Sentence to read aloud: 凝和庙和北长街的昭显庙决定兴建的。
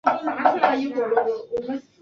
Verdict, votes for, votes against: rejected, 2, 2